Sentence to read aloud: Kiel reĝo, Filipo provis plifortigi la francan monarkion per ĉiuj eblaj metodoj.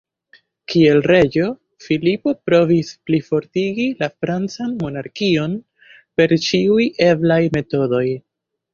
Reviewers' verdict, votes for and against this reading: accepted, 3, 0